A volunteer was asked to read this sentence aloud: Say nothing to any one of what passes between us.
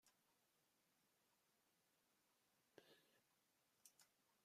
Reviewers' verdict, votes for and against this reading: rejected, 0, 2